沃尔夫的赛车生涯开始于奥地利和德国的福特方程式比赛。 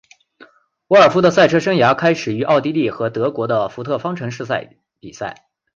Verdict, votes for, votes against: accepted, 2, 0